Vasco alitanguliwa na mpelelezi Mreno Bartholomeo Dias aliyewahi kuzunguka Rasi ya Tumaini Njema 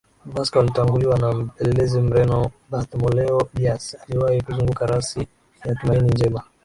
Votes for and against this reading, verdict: 2, 0, accepted